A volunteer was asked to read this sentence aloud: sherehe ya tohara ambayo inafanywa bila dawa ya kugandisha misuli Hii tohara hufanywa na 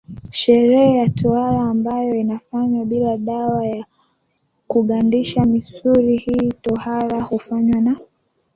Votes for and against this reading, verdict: 2, 0, accepted